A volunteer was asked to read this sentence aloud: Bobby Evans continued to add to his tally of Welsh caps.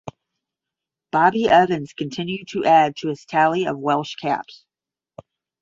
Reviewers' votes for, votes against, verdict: 10, 0, accepted